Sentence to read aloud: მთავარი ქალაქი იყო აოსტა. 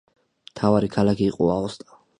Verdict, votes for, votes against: accepted, 2, 0